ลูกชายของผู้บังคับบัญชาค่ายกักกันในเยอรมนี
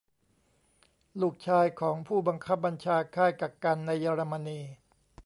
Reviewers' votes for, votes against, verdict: 2, 0, accepted